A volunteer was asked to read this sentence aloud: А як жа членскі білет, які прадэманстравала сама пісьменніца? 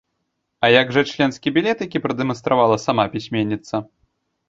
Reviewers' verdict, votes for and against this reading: accepted, 2, 0